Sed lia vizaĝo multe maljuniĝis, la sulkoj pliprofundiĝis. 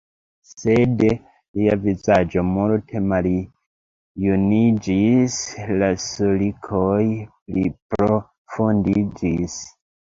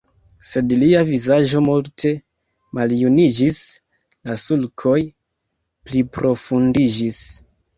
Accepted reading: second